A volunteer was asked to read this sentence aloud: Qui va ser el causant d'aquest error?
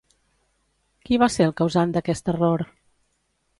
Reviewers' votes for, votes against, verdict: 2, 0, accepted